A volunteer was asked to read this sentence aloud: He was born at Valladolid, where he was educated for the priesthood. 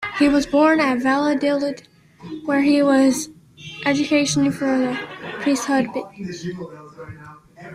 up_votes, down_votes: 1, 2